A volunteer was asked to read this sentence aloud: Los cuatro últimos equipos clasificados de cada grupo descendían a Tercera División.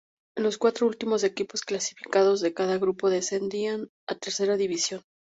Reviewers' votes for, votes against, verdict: 0, 2, rejected